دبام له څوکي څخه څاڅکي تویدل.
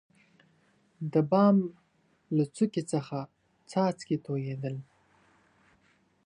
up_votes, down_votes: 2, 0